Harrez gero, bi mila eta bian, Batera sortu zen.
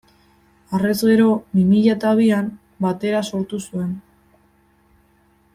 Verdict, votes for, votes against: rejected, 0, 2